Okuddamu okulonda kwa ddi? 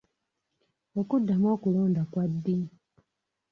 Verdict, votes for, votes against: accepted, 2, 0